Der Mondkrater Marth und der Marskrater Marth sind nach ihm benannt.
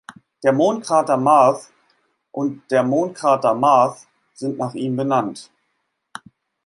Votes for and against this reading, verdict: 0, 2, rejected